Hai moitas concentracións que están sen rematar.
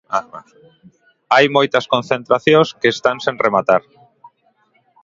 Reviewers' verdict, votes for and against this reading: rejected, 1, 2